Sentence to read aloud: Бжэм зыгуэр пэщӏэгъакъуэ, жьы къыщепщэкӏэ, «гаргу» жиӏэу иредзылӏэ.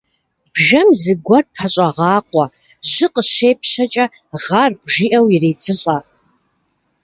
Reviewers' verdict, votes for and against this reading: rejected, 0, 2